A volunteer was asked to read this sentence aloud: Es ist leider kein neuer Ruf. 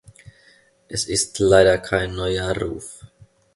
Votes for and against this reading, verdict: 2, 0, accepted